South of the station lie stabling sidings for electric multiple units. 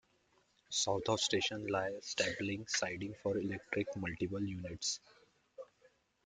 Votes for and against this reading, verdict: 1, 2, rejected